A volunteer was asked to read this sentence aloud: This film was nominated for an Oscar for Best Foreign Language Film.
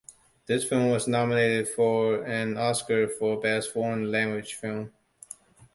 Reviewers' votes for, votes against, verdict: 2, 0, accepted